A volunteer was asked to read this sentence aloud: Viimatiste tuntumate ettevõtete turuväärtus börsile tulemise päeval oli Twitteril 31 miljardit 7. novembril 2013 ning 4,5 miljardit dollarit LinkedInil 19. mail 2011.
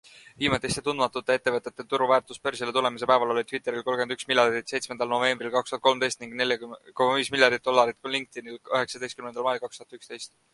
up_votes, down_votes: 0, 2